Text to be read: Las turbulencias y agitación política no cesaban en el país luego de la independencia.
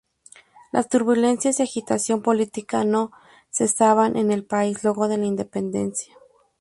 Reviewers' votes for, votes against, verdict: 2, 0, accepted